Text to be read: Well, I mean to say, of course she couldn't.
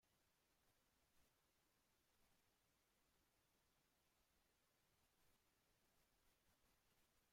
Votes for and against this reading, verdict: 0, 2, rejected